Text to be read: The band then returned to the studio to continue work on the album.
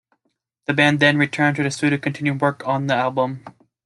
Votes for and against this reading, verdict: 2, 1, accepted